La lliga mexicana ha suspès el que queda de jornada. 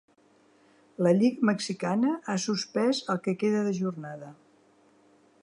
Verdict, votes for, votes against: rejected, 1, 2